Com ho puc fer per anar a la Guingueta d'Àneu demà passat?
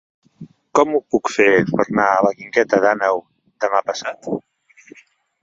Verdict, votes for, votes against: rejected, 0, 2